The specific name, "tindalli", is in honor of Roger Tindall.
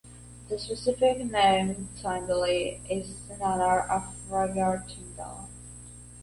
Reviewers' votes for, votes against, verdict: 2, 1, accepted